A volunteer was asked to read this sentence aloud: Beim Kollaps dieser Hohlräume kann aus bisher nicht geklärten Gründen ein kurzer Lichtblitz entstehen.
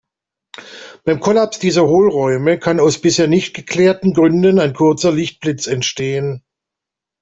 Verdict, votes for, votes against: accepted, 2, 0